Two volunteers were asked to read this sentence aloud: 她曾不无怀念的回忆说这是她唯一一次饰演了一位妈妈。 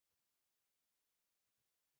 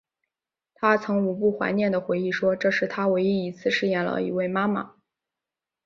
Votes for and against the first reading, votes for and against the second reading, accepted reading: 1, 3, 2, 0, second